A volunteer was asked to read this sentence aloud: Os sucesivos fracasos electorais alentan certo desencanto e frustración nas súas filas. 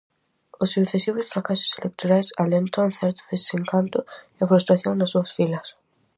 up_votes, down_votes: 4, 0